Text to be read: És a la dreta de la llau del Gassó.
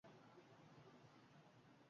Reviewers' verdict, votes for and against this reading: rejected, 0, 2